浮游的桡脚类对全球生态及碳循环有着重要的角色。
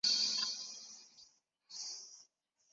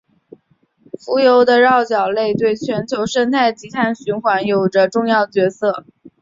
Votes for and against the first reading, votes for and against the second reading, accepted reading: 0, 3, 2, 0, second